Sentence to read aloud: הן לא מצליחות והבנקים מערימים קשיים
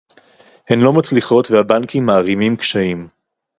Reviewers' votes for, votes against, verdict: 2, 2, rejected